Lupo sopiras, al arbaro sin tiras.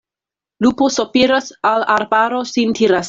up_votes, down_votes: 2, 0